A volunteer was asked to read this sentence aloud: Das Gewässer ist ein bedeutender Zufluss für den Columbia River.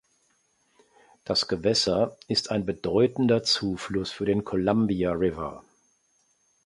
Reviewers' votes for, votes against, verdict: 3, 0, accepted